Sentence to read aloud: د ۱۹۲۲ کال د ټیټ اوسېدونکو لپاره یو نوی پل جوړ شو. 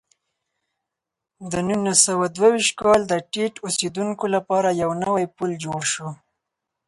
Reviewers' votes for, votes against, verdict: 0, 2, rejected